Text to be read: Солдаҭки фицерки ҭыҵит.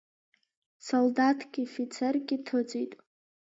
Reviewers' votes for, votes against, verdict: 2, 0, accepted